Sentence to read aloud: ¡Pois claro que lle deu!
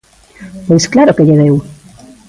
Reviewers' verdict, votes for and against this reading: accepted, 2, 0